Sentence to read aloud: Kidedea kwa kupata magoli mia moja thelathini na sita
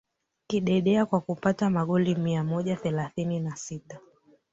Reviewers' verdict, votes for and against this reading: rejected, 1, 2